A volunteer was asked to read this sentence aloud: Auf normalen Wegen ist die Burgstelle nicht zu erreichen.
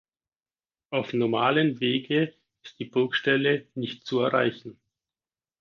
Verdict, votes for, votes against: rejected, 0, 4